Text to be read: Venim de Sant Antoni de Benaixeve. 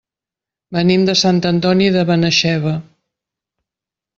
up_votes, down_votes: 2, 0